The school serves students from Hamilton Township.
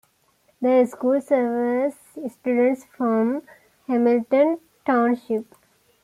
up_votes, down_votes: 2, 1